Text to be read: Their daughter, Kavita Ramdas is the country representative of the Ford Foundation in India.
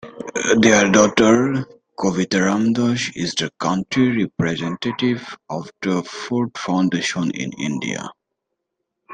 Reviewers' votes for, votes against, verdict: 0, 2, rejected